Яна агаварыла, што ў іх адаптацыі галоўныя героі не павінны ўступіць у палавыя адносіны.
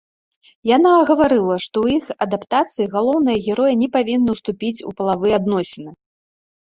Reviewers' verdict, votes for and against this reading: accepted, 2, 0